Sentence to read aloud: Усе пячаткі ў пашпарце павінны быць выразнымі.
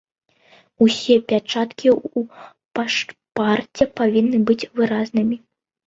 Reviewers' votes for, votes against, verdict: 1, 2, rejected